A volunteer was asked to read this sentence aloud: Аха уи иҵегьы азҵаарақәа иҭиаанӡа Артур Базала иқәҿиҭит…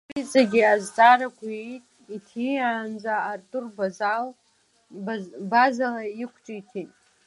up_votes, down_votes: 1, 2